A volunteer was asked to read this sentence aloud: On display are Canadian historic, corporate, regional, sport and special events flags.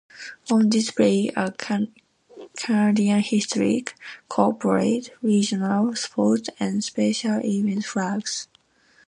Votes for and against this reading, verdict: 0, 2, rejected